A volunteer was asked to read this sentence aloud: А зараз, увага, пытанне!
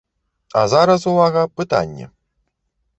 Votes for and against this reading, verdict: 2, 0, accepted